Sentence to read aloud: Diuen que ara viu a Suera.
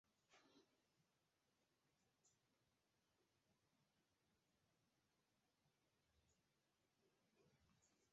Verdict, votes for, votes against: rejected, 0, 2